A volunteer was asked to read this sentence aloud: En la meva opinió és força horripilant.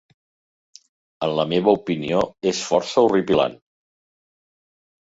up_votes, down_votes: 2, 0